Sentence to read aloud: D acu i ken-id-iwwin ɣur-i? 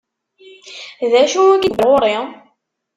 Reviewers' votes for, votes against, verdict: 0, 2, rejected